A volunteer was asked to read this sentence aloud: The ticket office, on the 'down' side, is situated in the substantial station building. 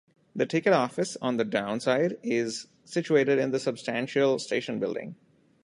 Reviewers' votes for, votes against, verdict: 2, 0, accepted